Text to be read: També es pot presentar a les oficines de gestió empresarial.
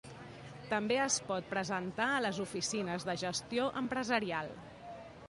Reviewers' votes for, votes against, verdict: 2, 0, accepted